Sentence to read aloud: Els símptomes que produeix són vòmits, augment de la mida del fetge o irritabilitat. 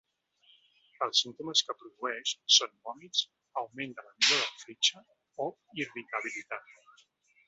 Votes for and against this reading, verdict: 0, 3, rejected